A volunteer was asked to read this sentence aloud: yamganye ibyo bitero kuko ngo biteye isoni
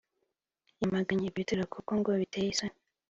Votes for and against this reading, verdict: 2, 0, accepted